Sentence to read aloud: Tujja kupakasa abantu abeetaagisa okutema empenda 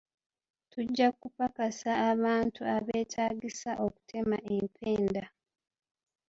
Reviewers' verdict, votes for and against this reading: accepted, 2, 0